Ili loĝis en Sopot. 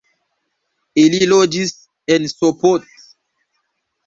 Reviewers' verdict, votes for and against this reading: rejected, 1, 2